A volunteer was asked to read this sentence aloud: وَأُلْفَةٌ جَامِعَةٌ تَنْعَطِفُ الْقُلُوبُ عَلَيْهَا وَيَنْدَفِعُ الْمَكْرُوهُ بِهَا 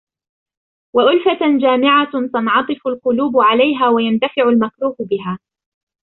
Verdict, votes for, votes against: rejected, 1, 2